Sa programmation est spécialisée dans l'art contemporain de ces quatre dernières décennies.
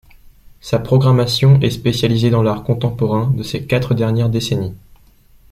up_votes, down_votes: 2, 0